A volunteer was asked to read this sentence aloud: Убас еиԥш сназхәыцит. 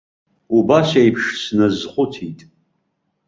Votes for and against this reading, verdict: 3, 0, accepted